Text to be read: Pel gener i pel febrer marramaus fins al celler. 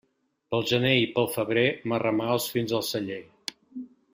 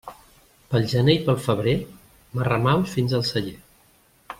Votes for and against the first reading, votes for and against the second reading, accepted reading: 0, 2, 2, 0, second